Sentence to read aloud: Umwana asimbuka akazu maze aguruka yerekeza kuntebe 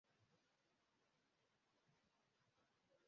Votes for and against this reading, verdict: 0, 2, rejected